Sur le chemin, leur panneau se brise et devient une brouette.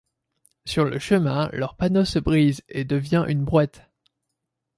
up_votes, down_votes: 2, 0